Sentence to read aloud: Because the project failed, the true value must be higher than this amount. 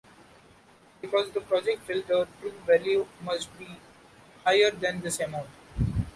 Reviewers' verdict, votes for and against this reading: accepted, 2, 1